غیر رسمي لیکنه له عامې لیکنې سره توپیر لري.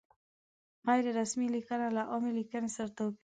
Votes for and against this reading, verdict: 1, 2, rejected